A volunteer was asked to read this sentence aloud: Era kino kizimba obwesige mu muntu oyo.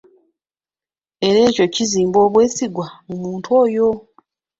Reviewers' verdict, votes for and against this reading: rejected, 1, 2